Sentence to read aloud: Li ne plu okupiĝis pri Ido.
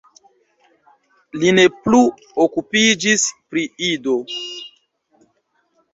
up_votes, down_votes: 2, 0